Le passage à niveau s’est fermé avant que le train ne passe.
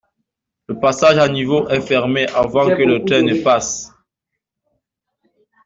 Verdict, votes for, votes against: rejected, 1, 2